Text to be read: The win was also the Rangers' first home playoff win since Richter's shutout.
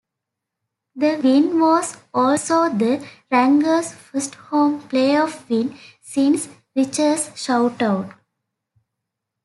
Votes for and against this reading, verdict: 0, 2, rejected